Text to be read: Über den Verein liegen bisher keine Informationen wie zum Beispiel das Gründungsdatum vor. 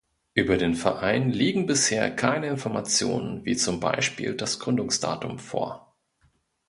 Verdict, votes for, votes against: accepted, 2, 0